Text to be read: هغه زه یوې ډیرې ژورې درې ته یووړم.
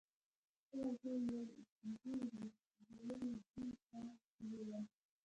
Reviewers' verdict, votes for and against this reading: rejected, 1, 2